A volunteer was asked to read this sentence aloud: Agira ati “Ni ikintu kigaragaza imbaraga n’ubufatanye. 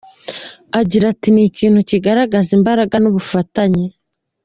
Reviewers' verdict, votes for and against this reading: accepted, 2, 0